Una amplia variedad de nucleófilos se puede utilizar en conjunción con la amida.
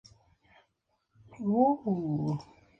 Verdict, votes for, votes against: rejected, 0, 2